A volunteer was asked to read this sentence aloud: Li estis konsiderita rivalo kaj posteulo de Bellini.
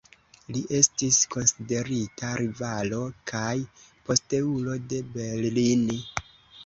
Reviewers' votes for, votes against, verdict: 2, 0, accepted